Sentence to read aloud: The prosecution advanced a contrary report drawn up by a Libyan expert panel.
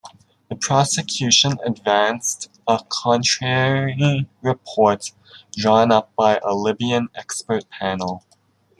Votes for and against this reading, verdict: 2, 0, accepted